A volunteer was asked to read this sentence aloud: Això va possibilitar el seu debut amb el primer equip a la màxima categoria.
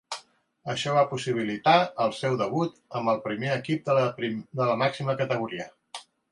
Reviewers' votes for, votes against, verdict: 0, 2, rejected